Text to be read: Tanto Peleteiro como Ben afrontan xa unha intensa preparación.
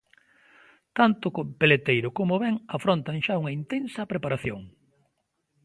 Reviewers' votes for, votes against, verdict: 0, 2, rejected